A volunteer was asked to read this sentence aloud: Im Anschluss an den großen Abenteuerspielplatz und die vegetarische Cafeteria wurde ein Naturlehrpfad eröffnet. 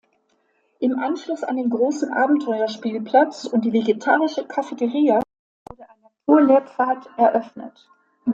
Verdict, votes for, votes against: accepted, 2, 0